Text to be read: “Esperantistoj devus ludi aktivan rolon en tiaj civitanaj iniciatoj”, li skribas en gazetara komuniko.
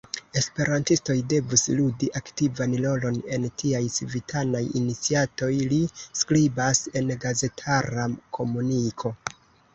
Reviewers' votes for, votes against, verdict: 2, 0, accepted